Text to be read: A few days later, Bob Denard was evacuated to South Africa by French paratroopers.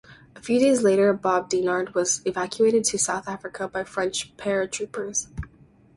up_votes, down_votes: 2, 2